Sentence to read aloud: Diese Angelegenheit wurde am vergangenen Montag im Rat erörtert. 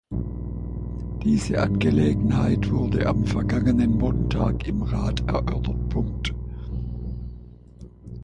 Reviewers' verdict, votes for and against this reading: rejected, 1, 2